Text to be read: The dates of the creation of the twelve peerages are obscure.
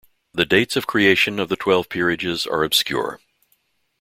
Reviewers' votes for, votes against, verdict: 0, 2, rejected